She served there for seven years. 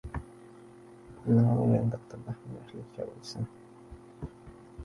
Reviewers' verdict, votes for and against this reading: rejected, 0, 2